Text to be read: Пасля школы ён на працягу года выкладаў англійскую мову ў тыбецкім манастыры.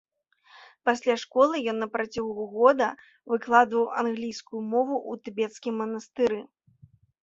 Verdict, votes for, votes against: rejected, 0, 2